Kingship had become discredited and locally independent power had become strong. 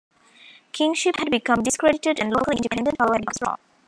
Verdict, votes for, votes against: rejected, 1, 2